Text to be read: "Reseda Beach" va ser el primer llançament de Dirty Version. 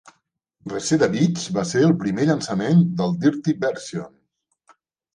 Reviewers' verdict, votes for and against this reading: rejected, 1, 2